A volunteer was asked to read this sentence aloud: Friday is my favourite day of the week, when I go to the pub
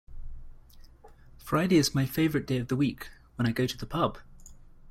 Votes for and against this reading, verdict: 2, 1, accepted